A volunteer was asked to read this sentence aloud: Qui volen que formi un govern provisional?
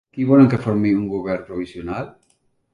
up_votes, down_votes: 3, 0